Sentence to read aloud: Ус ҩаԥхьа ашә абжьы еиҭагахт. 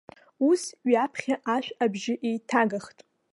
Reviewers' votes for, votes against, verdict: 1, 2, rejected